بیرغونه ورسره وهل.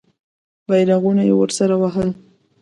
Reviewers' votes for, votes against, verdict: 0, 2, rejected